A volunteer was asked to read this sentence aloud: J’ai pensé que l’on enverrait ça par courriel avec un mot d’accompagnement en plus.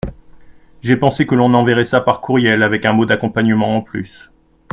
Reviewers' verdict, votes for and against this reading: accepted, 2, 0